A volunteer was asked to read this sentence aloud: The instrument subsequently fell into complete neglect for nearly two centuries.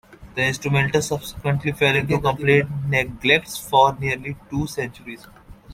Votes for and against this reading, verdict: 1, 2, rejected